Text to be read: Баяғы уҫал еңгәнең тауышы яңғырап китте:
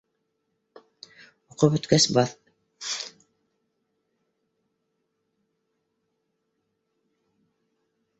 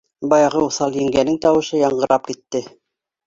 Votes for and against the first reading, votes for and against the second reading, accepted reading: 0, 2, 2, 0, second